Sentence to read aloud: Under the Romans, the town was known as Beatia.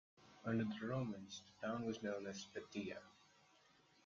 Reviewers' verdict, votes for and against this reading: accepted, 2, 0